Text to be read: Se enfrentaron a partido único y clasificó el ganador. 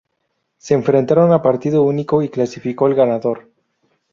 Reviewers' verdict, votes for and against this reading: accepted, 2, 0